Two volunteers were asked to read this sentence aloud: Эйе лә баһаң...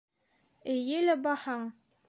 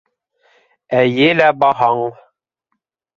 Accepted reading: first